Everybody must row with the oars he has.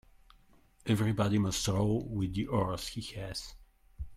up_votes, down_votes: 1, 2